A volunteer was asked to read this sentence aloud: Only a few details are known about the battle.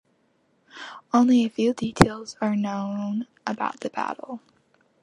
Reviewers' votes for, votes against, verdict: 2, 0, accepted